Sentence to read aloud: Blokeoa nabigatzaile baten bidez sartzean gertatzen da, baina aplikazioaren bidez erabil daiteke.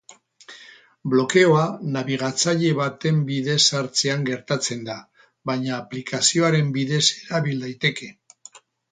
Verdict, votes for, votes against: rejected, 2, 2